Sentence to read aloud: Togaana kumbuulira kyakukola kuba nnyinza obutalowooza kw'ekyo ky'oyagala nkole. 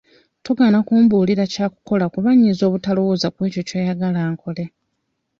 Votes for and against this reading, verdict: 2, 0, accepted